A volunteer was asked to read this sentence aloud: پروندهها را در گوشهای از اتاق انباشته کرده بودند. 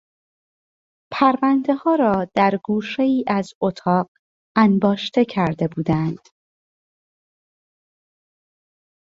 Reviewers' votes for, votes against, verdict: 2, 0, accepted